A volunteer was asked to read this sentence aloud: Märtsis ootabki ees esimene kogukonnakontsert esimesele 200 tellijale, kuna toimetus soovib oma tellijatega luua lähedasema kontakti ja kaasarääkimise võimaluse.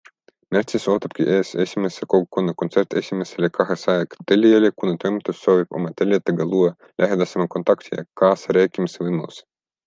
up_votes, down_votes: 0, 2